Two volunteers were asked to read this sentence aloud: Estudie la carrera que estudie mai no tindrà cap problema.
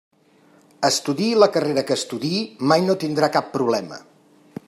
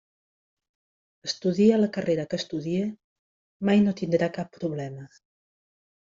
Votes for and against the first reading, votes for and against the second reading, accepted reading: 0, 5, 2, 0, second